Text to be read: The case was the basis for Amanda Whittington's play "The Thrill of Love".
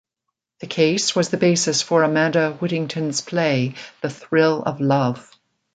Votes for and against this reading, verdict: 2, 0, accepted